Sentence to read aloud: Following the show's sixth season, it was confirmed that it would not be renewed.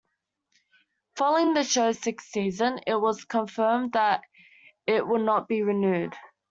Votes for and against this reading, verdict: 0, 2, rejected